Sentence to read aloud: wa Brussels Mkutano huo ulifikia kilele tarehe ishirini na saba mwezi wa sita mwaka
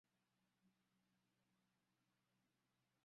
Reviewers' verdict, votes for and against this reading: rejected, 0, 2